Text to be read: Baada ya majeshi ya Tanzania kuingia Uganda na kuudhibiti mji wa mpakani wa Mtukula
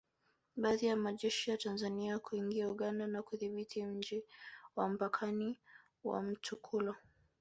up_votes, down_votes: 2, 0